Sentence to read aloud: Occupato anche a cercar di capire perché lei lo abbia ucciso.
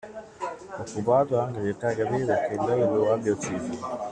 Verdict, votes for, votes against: rejected, 1, 2